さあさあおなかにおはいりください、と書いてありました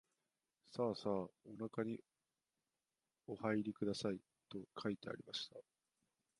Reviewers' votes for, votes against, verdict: 1, 2, rejected